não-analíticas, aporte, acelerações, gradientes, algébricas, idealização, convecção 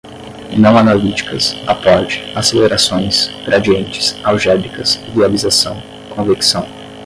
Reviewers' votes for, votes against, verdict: 0, 5, rejected